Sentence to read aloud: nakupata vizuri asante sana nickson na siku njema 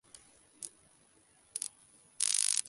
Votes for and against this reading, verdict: 0, 3, rejected